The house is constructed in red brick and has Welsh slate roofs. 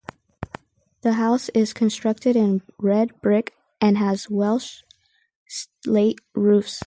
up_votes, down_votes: 2, 0